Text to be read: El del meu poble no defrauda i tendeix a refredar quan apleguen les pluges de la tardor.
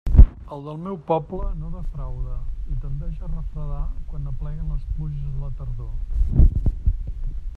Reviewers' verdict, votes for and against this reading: rejected, 0, 2